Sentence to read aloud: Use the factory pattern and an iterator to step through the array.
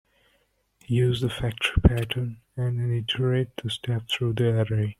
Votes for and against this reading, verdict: 1, 2, rejected